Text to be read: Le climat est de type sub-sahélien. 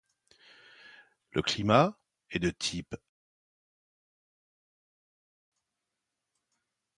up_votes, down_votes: 1, 2